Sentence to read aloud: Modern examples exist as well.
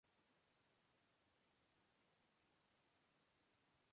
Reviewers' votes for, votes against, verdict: 0, 2, rejected